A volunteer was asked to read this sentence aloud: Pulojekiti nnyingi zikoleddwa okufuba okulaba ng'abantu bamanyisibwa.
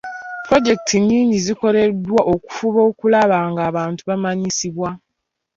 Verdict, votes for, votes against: accepted, 2, 0